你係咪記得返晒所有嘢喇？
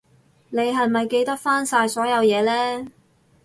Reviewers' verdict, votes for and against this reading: rejected, 0, 2